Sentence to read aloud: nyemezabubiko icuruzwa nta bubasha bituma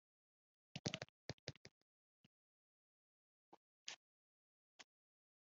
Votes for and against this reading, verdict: 0, 3, rejected